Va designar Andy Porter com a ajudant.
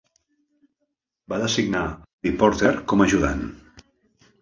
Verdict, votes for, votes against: rejected, 0, 2